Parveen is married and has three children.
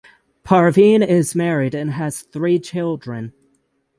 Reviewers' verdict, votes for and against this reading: accepted, 6, 0